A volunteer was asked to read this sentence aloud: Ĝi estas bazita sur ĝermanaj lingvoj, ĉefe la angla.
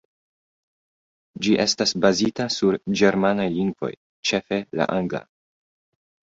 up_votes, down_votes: 1, 2